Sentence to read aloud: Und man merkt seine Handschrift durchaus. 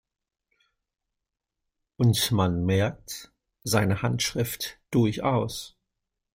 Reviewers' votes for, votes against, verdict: 2, 0, accepted